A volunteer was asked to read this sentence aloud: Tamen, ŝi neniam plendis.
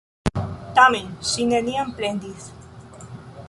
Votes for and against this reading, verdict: 2, 0, accepted